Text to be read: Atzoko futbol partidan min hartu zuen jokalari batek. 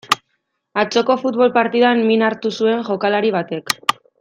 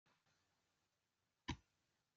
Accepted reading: first